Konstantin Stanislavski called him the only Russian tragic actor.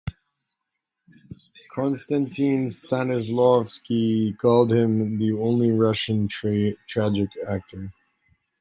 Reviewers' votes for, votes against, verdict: 1, 2, rejected